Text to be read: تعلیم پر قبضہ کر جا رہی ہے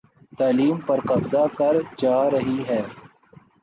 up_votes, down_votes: 2, 0